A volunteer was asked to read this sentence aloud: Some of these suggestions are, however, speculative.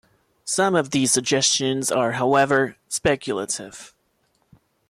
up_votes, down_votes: 2, 0